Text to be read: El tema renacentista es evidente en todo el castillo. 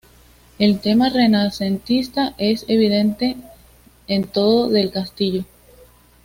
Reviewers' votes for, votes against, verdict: 2, 1, accepted